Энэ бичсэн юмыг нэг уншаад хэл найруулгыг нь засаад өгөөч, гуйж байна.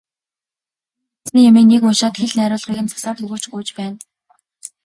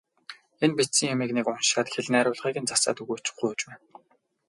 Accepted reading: first